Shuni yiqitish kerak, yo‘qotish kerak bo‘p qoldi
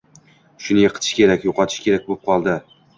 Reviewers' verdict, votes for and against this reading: accepted, 2, 0